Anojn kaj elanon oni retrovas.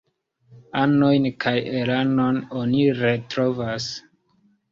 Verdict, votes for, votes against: rejected, 0, 2